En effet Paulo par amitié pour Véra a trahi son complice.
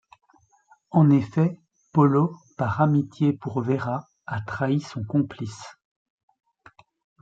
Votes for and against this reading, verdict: 1, 2, rejected